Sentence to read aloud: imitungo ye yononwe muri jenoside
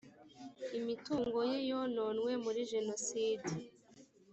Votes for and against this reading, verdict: 3, 0, accepted